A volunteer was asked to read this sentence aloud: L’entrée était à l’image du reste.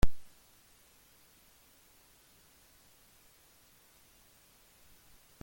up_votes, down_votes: 0, 2